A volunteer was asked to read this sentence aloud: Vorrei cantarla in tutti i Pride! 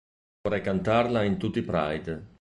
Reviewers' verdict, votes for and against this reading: accepted, 2, 0